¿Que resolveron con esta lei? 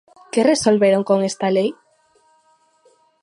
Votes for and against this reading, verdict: 2, 0, accepted